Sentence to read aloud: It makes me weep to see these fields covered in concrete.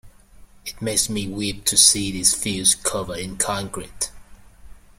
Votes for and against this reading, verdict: 0, 2, rejected